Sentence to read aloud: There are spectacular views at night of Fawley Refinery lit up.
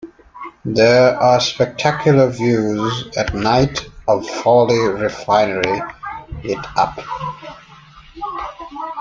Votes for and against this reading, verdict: 2, 0, accepted